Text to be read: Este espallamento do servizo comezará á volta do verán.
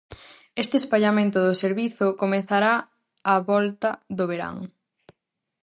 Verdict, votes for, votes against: rejected, 2, 2